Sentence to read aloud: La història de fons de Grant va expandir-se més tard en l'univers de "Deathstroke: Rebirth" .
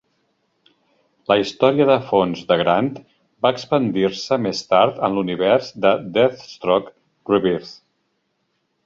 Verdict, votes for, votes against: accepted, 2, 0